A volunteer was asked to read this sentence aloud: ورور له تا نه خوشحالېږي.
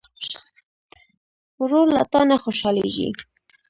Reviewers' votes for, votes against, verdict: 1, 2, rejected